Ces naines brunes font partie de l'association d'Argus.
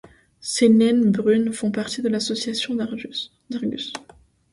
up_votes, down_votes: 0, 2